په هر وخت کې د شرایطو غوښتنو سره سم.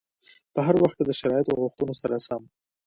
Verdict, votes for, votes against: accepted, 2, 0